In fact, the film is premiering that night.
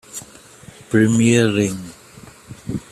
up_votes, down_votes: 0, 2